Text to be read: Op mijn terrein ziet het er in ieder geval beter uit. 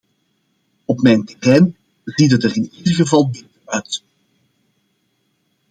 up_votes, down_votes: 0, 2